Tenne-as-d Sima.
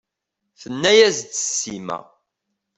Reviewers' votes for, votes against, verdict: 2, 0, accepted